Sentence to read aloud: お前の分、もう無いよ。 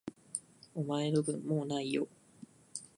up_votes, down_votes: 2, 0